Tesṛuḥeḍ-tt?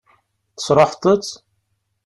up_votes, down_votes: 1, 2